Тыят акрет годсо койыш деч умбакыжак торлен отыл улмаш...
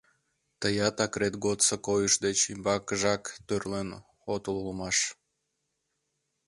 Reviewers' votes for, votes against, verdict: 1, 2, rejected